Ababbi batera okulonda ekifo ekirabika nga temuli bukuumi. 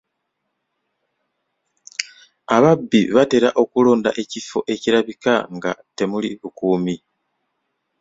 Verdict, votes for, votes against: accepted, 2, 1